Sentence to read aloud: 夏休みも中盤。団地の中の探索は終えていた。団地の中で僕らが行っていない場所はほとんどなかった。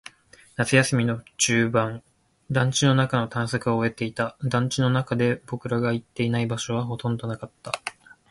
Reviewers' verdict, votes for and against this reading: accepted, 2, 0